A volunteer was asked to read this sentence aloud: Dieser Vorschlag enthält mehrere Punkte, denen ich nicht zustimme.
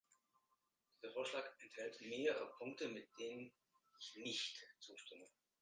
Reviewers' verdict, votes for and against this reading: rejected, 1, 3